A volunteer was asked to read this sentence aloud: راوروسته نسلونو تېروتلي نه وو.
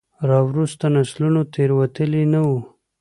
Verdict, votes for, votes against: accepted, 2, 0